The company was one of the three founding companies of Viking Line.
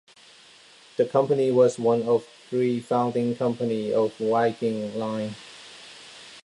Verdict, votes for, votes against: rejected, 0, 2